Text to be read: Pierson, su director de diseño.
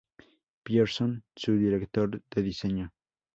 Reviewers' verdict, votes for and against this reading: accepted, 2, 0